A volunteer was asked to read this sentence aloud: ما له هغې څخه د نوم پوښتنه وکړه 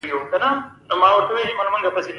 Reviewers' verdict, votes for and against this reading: rejected, 0, 2